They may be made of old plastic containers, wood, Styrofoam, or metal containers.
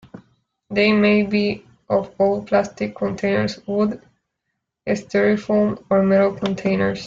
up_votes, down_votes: 0, 2